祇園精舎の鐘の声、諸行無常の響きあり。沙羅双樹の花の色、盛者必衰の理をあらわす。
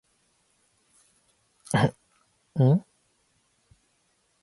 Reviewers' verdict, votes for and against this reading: rejected, 1, 2